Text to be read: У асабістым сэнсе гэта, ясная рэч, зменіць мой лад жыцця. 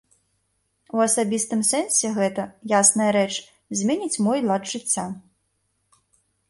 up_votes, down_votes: 2, 0